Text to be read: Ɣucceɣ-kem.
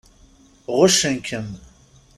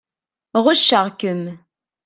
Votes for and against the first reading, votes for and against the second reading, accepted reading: 1, 2, 2, 0, second